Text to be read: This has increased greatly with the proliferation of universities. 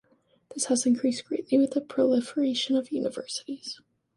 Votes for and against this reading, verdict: 2, 0, accepted